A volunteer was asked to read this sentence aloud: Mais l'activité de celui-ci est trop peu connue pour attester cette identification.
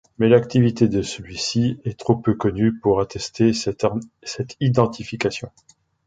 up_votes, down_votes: 0, 2